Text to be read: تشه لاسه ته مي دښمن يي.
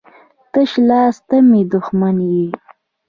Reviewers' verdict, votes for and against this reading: rejected, 1, 2